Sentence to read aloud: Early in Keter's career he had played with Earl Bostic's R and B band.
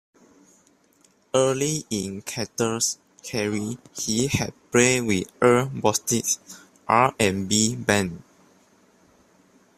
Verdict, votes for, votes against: rejected, 0, 2